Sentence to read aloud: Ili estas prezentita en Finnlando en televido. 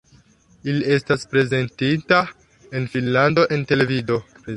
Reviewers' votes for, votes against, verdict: 1, 2, rejected